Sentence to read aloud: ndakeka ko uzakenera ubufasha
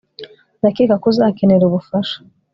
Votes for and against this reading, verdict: 2, 0, accepted